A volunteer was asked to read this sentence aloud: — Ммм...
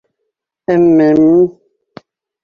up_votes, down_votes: 2, 1